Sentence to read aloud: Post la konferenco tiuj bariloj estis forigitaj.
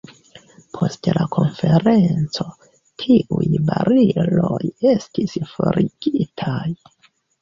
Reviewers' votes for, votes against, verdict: 2, 1, accepted